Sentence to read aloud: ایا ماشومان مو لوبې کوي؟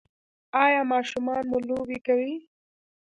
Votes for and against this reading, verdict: 1, 2, rejected